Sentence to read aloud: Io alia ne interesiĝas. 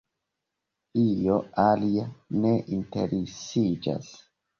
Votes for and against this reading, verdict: 1, 2, rejected